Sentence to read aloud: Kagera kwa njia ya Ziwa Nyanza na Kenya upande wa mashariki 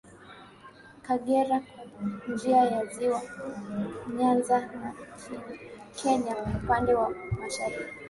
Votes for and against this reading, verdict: 2, 1, accepted